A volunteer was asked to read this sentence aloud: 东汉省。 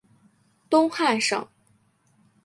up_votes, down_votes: 3, 0